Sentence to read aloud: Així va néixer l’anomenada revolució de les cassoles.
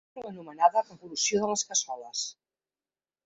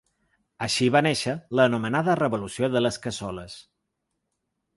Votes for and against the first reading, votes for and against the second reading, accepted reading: 0, 3, 4, 0, second